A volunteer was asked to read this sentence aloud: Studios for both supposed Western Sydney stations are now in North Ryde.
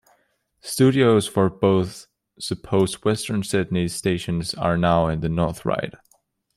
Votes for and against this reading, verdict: 1, 2, rejected